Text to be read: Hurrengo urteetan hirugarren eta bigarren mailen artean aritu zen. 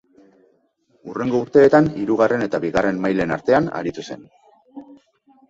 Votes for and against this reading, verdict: 2, 0, accepted